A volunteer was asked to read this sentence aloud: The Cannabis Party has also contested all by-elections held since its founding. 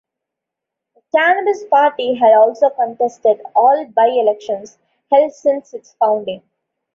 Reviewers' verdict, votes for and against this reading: accepted, 2, 0